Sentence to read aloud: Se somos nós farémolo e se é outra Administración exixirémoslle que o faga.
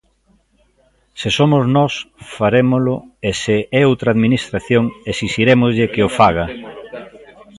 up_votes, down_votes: 0, 2